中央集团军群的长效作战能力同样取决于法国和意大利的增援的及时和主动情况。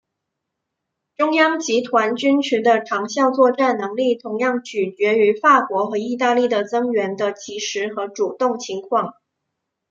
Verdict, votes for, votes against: accepted, 2, 0